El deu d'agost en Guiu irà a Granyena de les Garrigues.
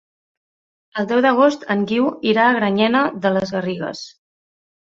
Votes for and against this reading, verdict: 2, 0, accepted